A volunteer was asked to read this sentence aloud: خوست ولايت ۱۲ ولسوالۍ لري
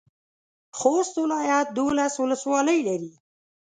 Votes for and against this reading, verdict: 0, 2, rejected